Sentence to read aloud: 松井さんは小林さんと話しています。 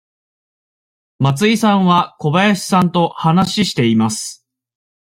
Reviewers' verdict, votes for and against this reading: accepted, 2, 1